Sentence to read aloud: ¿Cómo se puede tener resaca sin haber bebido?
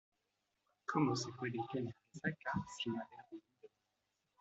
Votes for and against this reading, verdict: 2, 0, accepted